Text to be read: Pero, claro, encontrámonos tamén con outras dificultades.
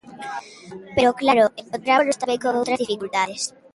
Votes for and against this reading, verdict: 0, 2, rejected